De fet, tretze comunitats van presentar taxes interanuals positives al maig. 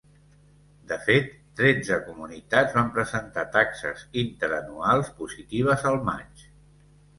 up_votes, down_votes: 2, 0